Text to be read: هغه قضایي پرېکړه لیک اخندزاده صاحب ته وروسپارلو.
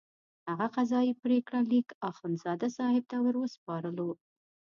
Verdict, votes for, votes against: accepted, 2, 0